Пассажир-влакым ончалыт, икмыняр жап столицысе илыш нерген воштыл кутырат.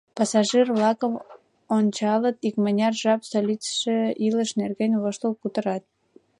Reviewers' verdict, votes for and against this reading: rejected, 1, 2